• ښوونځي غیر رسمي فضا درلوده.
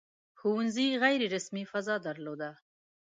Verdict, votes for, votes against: accepted, 2, 1